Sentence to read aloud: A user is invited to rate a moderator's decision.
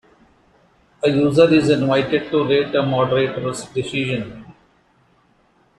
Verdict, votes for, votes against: accepted, 2, 0